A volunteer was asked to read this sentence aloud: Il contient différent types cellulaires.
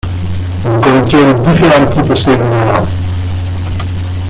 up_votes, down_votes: 0, 2